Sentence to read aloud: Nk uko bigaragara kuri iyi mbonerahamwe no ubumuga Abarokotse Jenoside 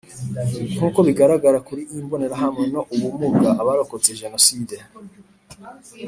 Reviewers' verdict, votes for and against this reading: accepted, 2, 0